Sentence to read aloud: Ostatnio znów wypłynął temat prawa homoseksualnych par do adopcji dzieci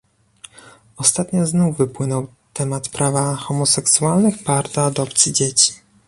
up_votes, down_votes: 2, 0